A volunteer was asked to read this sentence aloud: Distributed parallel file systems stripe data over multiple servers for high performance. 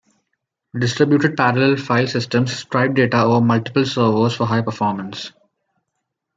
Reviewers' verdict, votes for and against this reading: accepted, 2, 1